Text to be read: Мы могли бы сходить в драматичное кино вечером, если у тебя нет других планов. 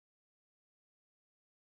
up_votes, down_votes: 0, 4